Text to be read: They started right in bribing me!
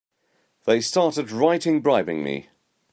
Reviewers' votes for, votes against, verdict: 2, 0, accepted